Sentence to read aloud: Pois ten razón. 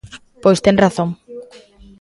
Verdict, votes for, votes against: rejected, 1, 2